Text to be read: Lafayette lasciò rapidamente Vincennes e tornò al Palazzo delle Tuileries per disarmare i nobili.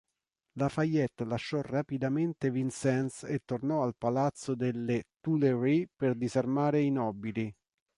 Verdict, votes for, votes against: accepted, 3, 0